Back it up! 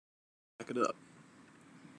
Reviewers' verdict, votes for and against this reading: rejected, 1, 2